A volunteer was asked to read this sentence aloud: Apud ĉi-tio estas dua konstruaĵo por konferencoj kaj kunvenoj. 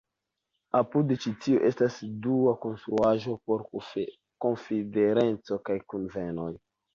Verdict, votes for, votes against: rejected, 0, 2